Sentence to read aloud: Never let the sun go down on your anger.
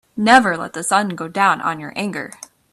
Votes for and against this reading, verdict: 2, 0, accepted